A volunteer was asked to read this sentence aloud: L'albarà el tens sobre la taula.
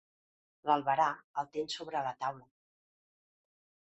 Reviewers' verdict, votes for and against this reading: accepted, 2, 0